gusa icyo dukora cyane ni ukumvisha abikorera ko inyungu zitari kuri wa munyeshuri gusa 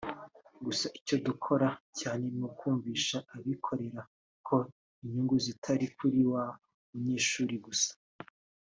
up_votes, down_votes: 2, 0